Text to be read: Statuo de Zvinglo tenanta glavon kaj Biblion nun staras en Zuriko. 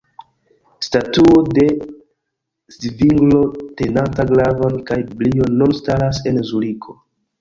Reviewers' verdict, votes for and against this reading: rejected, 0, 2